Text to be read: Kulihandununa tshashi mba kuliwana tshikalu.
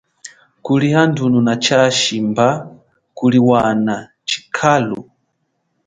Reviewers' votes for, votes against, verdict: 0, 2, rejected